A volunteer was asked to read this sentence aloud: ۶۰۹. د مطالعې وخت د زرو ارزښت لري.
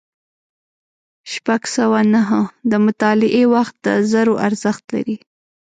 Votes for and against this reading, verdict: 0, 2, rejected